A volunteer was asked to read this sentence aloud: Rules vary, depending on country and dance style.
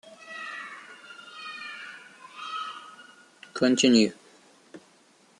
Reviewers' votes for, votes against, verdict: 0, 2, rejected